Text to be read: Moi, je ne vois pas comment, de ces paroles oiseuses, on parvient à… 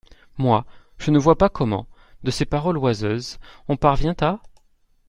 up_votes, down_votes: 2, 0